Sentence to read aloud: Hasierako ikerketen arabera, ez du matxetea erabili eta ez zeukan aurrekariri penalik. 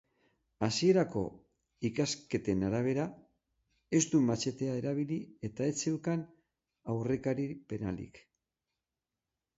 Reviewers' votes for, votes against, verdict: 0, 6, rejected